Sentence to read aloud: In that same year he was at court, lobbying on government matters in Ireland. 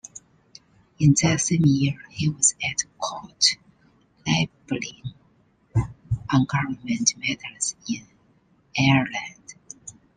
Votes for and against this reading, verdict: 0, 2, rejected